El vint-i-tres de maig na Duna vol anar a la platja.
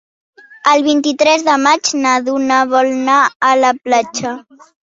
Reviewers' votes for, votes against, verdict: 3, 0, accepted